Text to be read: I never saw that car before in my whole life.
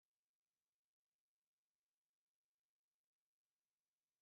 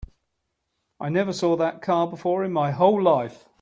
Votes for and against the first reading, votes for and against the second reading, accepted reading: 0, 3, 3, 0, second